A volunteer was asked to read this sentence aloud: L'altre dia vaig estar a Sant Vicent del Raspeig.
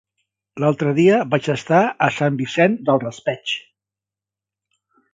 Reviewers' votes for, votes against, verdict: 3, 0, accepted